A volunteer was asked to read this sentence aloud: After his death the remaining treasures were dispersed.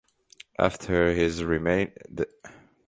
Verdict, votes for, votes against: rejected, 0, 2